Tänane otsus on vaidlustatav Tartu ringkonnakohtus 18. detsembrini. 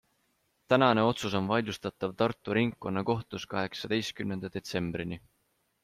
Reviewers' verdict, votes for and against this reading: rejected, 0, 2